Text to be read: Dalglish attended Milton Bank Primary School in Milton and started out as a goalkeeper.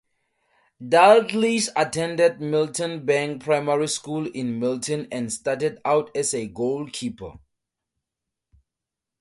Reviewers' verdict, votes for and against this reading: accepted, 2, 0